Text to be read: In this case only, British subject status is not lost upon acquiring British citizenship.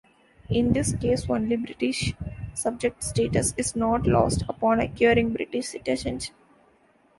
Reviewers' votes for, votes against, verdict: 0, 2, rejected